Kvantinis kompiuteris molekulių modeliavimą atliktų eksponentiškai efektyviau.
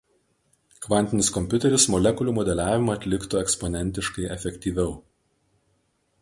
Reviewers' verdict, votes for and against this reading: accepted, 2, 0